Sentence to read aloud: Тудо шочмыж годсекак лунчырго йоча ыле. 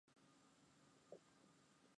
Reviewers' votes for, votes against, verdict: 1, 2, rejected